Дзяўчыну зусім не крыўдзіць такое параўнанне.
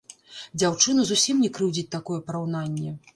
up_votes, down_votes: 1, 2